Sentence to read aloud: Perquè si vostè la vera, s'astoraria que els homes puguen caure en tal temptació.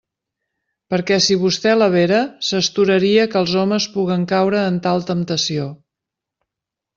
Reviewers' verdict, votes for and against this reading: accepted, 2, 0